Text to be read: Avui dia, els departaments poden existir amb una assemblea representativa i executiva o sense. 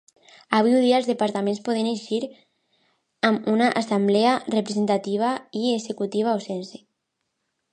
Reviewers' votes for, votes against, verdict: 0, 2, rejected